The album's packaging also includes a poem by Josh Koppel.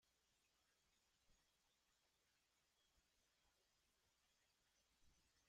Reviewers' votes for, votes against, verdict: 0, 2, rejected